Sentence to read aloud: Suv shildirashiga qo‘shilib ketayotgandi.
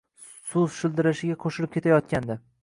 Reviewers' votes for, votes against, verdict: 1, 2, rejected